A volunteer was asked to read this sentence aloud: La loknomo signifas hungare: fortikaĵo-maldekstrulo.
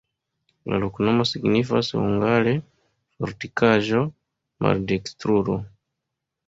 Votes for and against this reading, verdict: 2, 0, accepted